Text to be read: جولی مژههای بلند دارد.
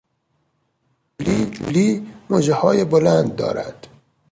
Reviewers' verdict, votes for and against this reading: rejected, 0, 2